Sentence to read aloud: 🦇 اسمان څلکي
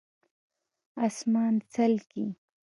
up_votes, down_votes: 2, 0